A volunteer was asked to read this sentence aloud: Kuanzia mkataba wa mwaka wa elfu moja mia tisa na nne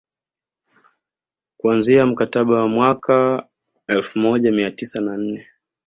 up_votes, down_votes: 2, 0